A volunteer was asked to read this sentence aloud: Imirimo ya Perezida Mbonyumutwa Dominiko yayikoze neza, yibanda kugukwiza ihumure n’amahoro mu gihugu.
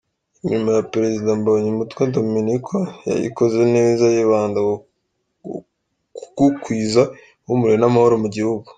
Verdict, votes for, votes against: rejected, 0, 2